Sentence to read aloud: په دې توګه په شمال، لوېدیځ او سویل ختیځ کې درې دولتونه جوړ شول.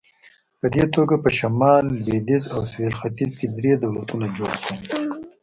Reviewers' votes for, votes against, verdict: 2, 0, accepted